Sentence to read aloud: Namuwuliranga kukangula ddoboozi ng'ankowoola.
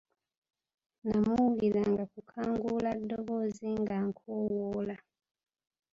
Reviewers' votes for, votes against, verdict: 1, 2, rejected